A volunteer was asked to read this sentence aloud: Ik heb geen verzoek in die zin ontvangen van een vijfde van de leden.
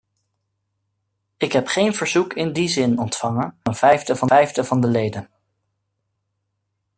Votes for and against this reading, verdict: 0, 2, rejected